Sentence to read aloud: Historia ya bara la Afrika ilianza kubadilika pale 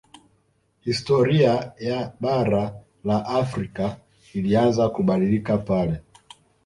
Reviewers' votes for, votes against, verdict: 2, 0, accepted